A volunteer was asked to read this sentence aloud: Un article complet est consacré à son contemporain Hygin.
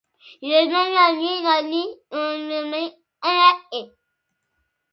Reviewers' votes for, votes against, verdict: 1, 2, rejected